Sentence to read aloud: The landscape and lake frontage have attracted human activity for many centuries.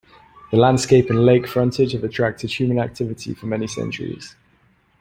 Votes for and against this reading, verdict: 2, 0, accepted